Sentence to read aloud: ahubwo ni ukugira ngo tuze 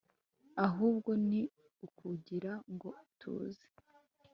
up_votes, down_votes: 2, 0